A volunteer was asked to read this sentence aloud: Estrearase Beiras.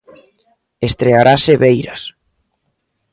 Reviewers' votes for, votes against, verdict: 2, 0, accepted